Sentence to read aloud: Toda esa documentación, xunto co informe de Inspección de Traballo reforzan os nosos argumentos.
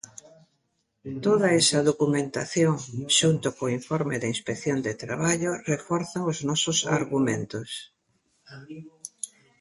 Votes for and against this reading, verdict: 1, 2, rejected